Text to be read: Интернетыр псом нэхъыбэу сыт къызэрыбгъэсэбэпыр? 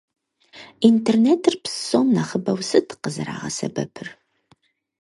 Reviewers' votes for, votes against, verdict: 2, 4, rejected